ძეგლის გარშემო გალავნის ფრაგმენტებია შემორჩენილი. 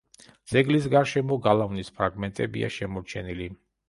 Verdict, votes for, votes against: accepted, 3, 0